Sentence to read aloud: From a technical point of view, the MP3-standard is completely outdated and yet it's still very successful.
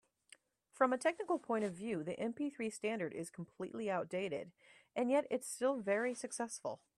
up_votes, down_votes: 0, 2